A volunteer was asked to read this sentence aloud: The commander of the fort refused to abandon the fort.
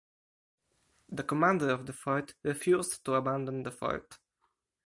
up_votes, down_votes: 4, 0